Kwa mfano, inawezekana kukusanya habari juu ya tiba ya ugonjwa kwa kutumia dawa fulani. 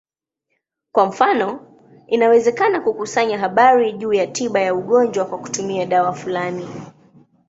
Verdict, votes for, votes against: accepted, 2, 0